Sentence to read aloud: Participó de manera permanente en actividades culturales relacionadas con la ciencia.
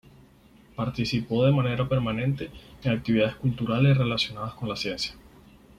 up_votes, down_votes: 4, 0